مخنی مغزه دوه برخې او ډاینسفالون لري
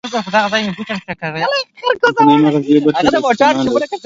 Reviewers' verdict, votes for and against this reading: rejected, 2, 3